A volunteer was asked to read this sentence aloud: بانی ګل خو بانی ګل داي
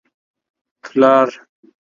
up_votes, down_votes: 0, 2